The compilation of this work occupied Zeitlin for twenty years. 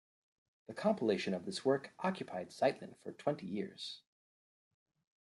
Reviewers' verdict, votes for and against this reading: accepted, 2, 0